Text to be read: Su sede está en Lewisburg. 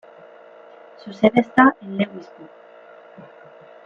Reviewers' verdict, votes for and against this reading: rejected, 0, 2